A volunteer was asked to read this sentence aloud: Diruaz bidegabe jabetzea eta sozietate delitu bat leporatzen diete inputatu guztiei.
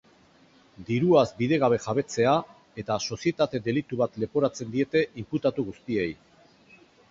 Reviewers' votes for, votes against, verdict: 4, 0, accepted